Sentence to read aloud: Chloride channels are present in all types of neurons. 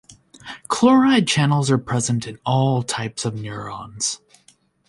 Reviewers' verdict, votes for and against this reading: accepted, 2, 0